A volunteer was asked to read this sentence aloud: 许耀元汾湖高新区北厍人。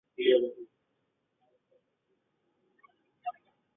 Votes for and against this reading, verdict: 0, 3, rejected